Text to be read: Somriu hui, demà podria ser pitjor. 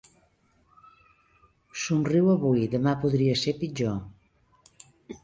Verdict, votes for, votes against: rejected, 0, 3